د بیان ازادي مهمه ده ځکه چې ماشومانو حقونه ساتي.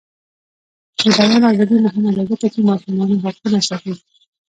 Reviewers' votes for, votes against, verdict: 1, 2, rejected